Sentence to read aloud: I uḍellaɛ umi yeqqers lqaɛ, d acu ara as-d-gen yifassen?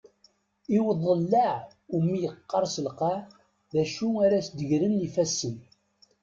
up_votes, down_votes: 1, 2